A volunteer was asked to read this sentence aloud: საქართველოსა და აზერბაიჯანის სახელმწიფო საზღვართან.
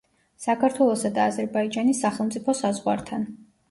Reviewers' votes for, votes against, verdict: 2, 0, accepted